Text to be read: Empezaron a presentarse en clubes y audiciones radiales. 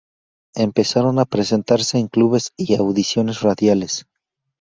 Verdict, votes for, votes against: accepted, 4, 0